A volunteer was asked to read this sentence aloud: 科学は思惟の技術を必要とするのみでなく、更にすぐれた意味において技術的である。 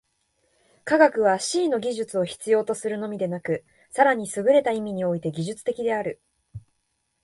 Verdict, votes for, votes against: accepted, 2, 0